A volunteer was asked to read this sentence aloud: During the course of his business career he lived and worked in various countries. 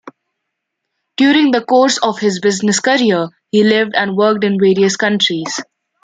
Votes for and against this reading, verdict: 2, 0, accepted